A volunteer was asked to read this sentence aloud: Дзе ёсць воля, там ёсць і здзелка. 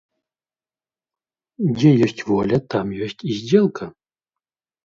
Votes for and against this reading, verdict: 2, 0, accepted